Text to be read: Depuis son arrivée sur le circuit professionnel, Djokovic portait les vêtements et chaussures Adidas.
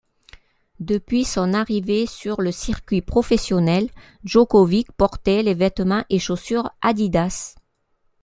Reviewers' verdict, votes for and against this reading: accepted, 2, 0